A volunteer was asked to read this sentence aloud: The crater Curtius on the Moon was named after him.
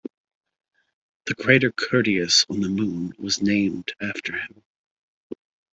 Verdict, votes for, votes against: accepted, 2, 0